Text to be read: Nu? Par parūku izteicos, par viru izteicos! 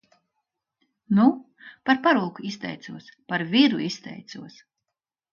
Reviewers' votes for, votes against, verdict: 2, 0, accepted